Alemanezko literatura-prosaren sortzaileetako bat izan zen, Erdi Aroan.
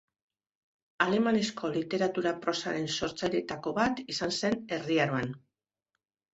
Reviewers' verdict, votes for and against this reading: rejected, 2, 7